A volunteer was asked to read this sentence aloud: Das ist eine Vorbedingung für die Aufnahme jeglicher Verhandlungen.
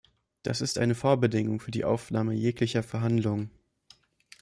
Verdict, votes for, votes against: accepted, 2, 0